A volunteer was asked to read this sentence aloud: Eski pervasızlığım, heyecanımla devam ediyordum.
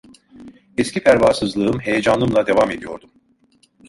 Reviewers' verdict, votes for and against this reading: accepted, 2, 0